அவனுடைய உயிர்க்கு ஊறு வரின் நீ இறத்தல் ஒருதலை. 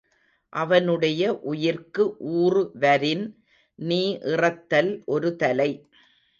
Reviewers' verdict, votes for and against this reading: rejected, 1, 2